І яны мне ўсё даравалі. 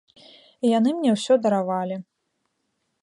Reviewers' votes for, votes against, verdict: 2, 0, accepted